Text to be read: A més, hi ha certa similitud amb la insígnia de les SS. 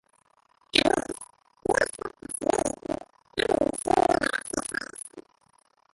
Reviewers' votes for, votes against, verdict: 0, 3, rejected